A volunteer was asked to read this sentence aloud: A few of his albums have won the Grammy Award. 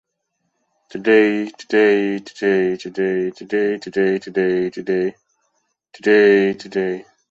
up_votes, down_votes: 0, 2